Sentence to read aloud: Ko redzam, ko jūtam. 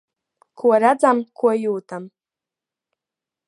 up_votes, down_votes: 6, 1